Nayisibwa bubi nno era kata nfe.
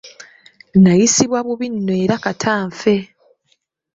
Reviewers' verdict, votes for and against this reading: accepted, 2, 0